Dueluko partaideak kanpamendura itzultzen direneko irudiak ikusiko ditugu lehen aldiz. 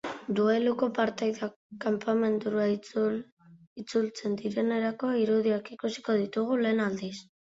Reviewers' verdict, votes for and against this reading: rejected, 0, 2